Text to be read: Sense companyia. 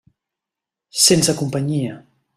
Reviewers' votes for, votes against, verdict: 3, 0, accepted